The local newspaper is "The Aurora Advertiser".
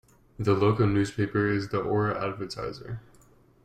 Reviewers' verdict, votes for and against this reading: rejected, 1, 2